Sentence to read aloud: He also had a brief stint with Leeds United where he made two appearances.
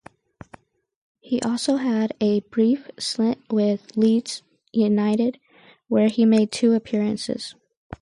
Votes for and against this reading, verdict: 0, 2, rejected